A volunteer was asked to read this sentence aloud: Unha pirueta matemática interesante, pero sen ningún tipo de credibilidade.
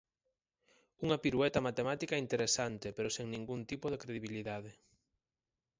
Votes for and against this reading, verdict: 4, 0, accepted